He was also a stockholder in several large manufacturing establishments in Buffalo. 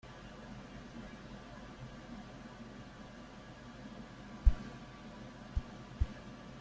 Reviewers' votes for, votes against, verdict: 0, 2, rejected